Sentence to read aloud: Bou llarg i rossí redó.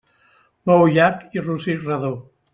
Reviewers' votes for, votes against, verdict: 2, 0, accepted